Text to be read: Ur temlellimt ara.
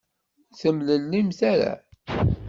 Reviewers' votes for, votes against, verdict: 1, 2, rejected